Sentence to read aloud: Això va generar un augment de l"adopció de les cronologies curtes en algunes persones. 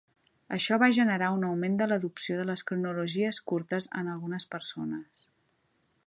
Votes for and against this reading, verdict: 2, 0, accepted